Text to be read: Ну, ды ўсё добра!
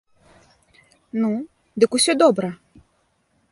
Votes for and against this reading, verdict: 0, 2, rejected